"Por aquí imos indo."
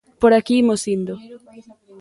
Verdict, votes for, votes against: accepted, 2, 0